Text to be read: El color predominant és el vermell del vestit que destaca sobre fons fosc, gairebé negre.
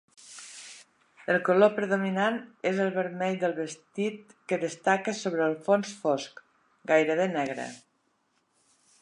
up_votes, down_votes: 1, 2